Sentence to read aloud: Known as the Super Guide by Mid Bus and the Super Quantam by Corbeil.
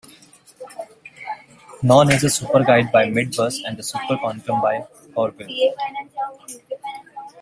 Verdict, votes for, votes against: rejected, 1, 2